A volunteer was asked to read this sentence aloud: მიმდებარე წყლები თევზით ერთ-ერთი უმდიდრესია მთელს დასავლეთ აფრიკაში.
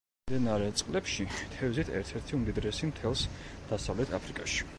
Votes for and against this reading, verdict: 0, 2, rejected